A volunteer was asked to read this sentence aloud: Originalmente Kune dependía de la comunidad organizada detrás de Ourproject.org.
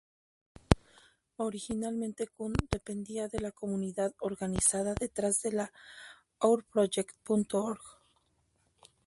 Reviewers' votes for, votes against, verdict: 0, 2, rejected